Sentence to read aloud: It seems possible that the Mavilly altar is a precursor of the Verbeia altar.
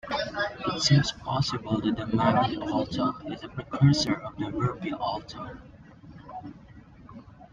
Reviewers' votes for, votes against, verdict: 0, 2, rejected